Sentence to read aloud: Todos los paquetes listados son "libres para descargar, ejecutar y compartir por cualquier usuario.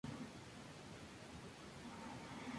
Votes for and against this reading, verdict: 0, 2, rejected